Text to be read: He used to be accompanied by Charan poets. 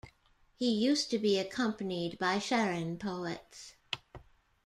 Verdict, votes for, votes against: accepted, 2, 0